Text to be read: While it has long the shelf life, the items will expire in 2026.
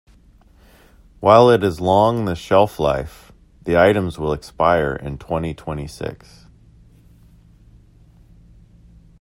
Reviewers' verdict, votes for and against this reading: rejected, 0, 2